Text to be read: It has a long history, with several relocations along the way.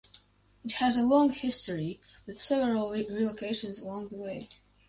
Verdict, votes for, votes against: rejected, 2, 2